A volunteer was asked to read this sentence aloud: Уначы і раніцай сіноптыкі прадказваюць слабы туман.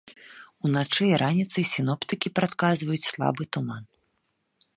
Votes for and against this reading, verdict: 2, 0, accepted